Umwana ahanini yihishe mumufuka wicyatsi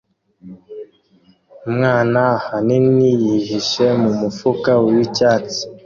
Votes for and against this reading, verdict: 2, 0, accepted